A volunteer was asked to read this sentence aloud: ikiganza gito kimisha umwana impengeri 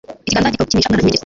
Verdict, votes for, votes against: rejected, 1, 2